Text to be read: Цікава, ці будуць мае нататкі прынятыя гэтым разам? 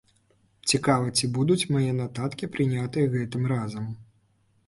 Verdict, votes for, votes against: accepted, 2, 0